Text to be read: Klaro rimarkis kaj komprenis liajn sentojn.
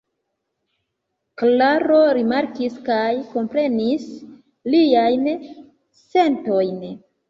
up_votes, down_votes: 2, 1